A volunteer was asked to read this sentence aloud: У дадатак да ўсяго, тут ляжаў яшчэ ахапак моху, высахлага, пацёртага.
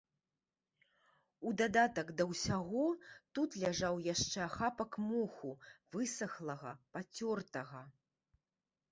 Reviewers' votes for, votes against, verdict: 3, 0, accepted